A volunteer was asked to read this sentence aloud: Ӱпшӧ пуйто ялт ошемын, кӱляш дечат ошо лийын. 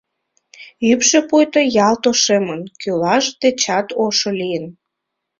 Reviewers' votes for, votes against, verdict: 2, 1, accepted